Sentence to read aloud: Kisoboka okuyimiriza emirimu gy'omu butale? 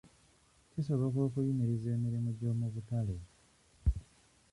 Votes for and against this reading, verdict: 1, 2, rejected